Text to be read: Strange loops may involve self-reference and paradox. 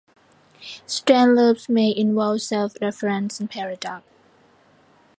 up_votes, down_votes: 0, 2